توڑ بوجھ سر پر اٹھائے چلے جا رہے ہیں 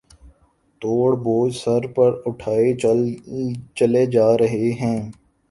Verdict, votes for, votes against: accepted, 2, 1